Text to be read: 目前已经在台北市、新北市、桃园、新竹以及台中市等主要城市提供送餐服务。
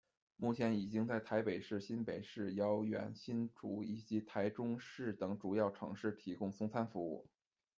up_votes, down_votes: 0, 2